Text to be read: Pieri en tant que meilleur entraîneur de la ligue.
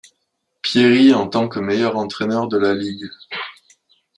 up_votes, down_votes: 2, 0